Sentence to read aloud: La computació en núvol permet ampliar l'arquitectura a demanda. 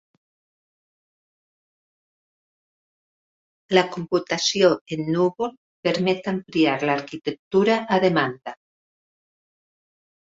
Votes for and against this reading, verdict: 3, 1, accepted